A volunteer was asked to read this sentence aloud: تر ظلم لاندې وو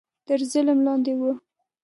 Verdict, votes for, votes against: accepted, 2, 0